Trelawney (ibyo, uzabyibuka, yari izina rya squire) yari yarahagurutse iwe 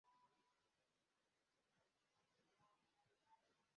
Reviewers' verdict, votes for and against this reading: rejected, 0, 2